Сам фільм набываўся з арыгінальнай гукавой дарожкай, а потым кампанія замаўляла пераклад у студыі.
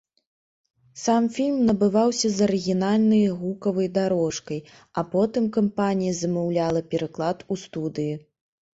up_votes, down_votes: 1, 2